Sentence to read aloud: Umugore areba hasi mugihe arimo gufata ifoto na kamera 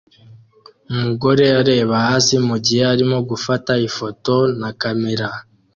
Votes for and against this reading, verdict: 2, 0, accepted